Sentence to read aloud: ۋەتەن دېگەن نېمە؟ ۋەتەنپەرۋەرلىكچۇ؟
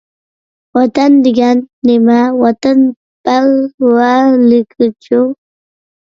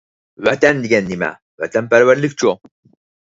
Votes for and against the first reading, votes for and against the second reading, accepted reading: 1, 2, 4, 0, second